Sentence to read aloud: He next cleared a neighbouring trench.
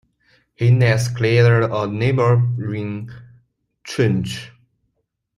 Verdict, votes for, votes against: rejected, 0, 2